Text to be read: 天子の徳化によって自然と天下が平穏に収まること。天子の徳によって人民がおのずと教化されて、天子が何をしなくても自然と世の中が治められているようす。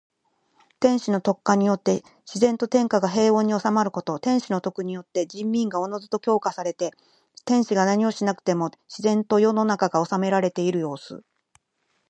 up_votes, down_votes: 4, 2